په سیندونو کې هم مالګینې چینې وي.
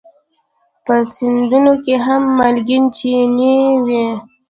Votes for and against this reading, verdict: 0, 2, rejected